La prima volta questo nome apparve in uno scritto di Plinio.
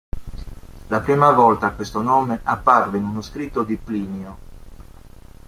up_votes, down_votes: 2, 0